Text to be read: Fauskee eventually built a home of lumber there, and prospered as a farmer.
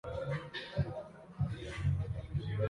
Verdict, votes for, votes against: rejected, 0, 2